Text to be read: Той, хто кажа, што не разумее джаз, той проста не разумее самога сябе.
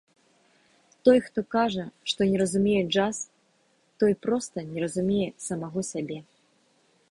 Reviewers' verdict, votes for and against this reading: rejected, 0, 2